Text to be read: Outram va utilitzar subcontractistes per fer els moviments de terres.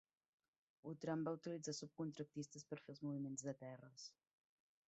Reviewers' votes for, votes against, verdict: 0, 2, rejected